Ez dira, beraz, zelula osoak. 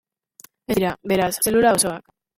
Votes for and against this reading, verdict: 0, 2, rejected